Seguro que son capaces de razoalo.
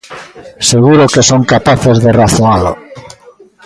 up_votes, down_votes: 2, 0